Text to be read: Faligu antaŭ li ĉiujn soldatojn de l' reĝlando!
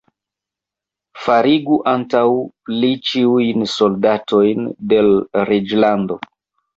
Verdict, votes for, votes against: rejected, 0, 2